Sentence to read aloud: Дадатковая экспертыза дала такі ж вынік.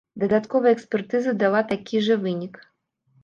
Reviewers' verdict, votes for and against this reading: rejected, 1, 2